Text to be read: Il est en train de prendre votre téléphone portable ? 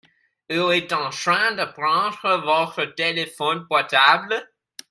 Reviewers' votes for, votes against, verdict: 0, 2, rejected